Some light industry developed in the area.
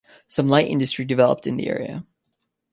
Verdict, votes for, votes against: accepted, 2, 0